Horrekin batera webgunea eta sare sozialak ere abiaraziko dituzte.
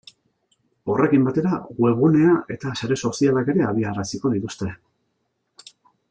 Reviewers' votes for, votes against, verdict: 2, 0, accepted